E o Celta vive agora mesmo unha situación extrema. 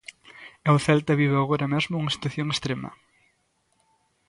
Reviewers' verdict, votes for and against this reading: accepted, 2, 0